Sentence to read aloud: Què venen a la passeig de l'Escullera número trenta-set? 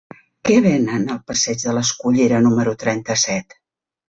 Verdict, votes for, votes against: rejected, 0, 2